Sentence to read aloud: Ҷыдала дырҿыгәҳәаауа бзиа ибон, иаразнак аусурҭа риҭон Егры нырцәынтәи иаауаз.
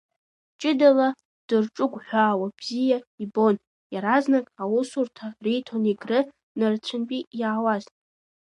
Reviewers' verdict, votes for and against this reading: accepted, 2, 0